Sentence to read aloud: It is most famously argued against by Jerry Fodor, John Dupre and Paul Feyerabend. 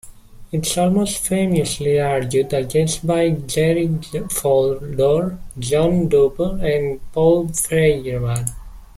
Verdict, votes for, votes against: accepted, 2, 1